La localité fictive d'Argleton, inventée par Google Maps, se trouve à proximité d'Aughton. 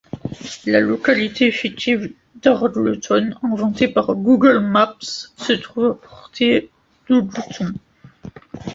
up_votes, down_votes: 1, 2